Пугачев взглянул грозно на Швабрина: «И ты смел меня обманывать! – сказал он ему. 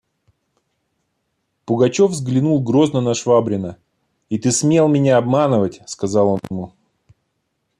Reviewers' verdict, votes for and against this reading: rejected, 1, 2